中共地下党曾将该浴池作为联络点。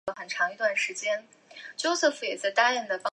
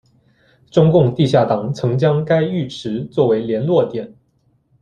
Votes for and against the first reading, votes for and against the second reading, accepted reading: 1, 2, 2, 0, second